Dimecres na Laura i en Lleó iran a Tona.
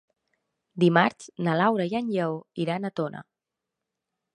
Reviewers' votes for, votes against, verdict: 0, 2, rejected